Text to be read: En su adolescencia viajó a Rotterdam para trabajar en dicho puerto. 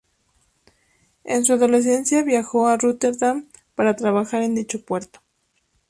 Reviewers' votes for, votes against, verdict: 0, 2, rejected